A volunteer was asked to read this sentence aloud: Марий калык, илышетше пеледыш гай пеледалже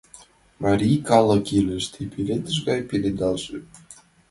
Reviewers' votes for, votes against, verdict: 1, 2, rejected